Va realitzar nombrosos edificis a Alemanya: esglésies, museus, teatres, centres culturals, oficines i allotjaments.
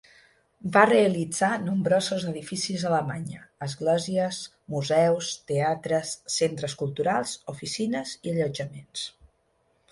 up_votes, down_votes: 9, 0